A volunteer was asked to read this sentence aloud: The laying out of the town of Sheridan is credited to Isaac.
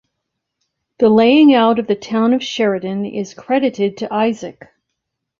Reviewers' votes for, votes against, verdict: 2, 0, accepted